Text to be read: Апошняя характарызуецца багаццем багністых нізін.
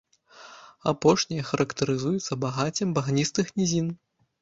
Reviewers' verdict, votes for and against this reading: rejected, 1, 2